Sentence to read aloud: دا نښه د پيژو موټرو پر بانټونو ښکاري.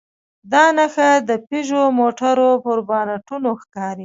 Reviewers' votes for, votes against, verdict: 2, 1, accepted